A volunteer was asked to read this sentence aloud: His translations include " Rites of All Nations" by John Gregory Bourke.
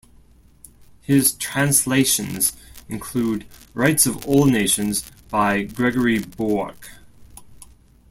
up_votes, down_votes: 0, 2